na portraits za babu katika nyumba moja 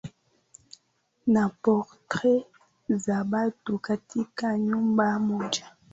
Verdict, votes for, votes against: rejected, 0, 2